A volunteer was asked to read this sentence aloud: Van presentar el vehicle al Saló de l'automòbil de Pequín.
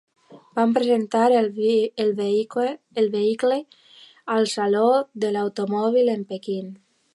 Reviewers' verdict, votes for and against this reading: rejected, 0, 2